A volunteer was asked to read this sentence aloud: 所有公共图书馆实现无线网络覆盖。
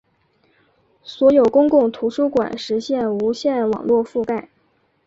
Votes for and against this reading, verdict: 5, 0, accepted